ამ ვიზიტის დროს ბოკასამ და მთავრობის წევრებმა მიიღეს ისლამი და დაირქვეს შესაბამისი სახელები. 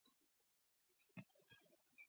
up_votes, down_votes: 0, 2